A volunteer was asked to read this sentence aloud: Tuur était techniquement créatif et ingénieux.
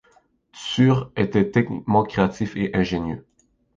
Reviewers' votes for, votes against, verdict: 2, 1, accepted